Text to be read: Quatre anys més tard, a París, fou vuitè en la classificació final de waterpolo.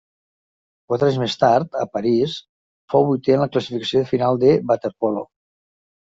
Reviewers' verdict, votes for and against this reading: rejected, 1, 2